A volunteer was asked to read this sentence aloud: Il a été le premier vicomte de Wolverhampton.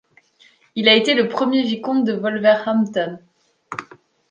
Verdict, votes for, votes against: accepted, 2, 0